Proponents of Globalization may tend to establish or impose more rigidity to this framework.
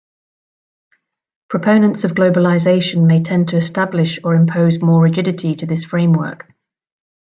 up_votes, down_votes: 2, 0